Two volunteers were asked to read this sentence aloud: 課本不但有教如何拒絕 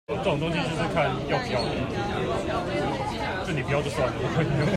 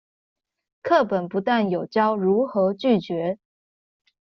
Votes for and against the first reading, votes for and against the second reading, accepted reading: 0, 2, 2, 0, second